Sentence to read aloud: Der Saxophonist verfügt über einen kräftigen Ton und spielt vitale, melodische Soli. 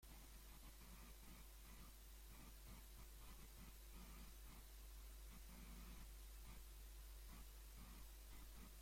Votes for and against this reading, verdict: 0, 2, rejected